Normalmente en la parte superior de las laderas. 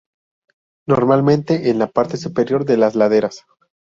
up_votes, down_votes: 2, 0